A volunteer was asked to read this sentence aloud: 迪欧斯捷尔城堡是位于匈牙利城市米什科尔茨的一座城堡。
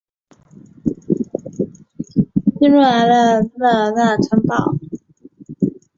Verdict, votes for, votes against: rejected, 0, 2